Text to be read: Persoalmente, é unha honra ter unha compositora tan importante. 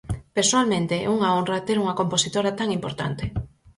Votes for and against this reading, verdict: 4, 0, accepted